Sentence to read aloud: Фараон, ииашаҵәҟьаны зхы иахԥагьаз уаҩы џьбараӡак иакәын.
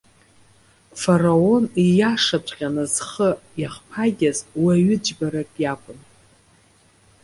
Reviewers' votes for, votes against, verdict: 0, 2, rejected